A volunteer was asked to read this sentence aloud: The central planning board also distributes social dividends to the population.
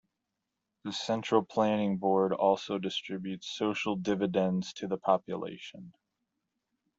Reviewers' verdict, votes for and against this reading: accepted, 2, 0